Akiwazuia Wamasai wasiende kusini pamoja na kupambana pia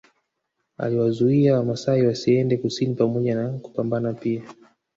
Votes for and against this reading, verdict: 1, 2, rejected